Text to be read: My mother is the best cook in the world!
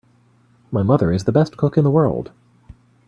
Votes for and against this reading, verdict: 3, 0, accepted